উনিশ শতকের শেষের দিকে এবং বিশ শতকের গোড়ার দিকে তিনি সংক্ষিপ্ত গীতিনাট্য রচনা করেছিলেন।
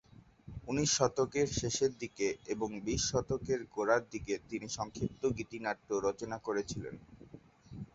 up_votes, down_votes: 2, 0